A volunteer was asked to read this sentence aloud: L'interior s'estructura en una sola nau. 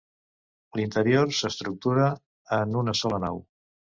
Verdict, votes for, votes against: accepted, 2, 0